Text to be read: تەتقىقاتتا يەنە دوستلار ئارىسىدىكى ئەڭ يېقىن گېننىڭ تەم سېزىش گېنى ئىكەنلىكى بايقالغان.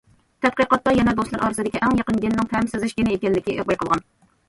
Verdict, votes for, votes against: rejected, 0, 2